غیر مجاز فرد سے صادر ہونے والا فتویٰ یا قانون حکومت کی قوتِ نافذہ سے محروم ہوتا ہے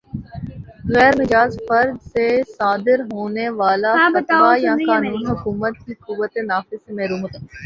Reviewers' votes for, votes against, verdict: 0, 2, rejected